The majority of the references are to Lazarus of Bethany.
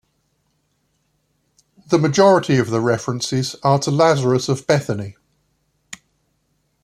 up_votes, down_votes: 2, 0